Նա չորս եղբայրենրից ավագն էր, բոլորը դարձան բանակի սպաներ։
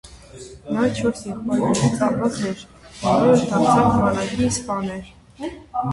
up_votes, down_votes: 1, 2